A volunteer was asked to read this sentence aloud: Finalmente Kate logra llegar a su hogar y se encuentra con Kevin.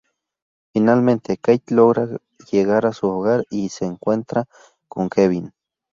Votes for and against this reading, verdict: 0, 2, rejected